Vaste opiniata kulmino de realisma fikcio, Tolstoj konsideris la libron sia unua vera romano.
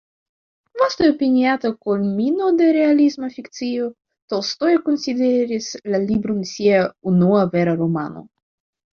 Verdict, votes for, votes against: rejected, 1, 2